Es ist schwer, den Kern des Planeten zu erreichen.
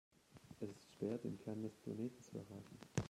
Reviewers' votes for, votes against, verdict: 1, 2, rejected